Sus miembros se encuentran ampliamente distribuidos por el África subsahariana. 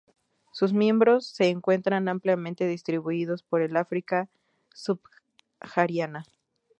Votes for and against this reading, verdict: 0, 2, rejected